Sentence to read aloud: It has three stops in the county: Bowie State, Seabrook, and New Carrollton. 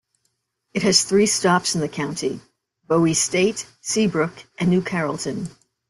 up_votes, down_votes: 2, 0